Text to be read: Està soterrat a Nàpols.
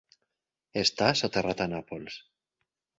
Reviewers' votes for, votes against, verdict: 4, 0, accepted